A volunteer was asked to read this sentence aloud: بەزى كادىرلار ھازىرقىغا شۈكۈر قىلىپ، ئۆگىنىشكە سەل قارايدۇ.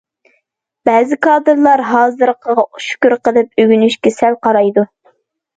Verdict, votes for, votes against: accepted, 2, 0